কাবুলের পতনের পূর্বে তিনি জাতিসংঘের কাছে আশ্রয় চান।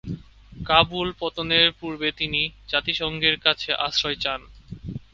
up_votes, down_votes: 0, 2